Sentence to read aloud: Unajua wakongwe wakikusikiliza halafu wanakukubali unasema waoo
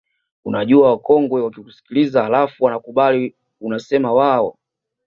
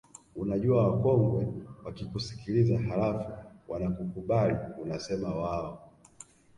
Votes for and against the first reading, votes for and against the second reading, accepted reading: 2, 0, 0, 2, first